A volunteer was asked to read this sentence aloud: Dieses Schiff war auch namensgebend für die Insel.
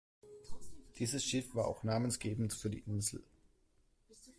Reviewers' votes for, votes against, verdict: 2, 0, accepted